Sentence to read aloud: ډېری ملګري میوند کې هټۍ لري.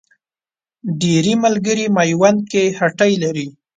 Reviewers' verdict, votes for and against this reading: accepted, 2, 0